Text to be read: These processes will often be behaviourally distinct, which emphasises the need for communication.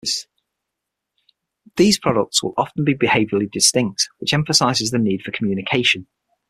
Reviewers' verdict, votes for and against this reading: rejected, 0, 6